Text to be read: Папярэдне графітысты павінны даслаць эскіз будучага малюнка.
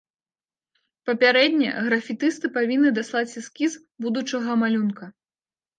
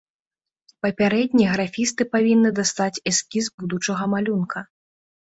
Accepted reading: first